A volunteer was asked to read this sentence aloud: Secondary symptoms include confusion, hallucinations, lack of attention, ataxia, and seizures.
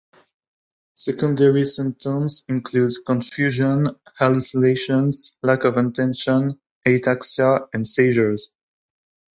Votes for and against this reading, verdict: 2, 1, accepted